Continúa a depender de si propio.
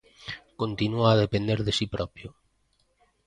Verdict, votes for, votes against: accepted, 2, 0